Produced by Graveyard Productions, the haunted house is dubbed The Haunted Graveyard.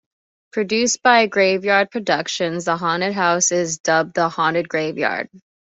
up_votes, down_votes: 2, 1